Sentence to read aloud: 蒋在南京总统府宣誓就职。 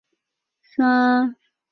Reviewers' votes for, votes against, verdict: 2, 5, rejected